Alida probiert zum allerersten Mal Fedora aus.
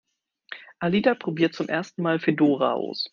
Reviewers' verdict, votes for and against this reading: rejected, 1, 2